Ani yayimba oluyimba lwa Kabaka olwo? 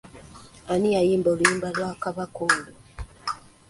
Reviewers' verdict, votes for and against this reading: accepted, 2, 0